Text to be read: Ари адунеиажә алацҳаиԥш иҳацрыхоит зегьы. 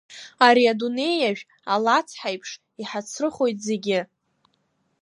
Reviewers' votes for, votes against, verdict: 3, 0, accepted